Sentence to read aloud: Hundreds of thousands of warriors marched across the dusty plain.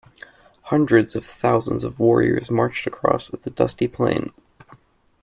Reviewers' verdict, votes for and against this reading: accepted, 2, 0